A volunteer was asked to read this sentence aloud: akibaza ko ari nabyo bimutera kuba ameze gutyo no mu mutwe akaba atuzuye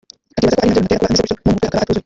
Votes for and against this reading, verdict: 0, 2, rejected